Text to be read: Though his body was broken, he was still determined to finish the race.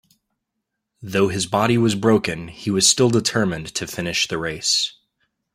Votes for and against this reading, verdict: 2, 0, accepted